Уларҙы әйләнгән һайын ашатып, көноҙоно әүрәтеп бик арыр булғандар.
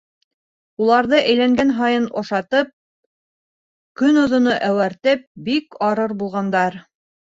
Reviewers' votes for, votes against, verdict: 1, 2, rejected